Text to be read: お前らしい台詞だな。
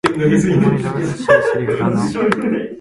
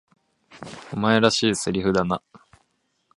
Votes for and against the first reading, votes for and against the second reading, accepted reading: 1, 2, 2, 0, second